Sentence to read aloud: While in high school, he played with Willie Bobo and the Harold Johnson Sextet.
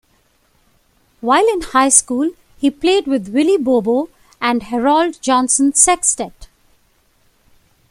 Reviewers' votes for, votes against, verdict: 1, 2, rejected